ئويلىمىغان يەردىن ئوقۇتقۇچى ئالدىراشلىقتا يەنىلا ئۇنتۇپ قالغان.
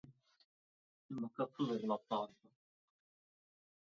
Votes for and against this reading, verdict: 0, 2, rejected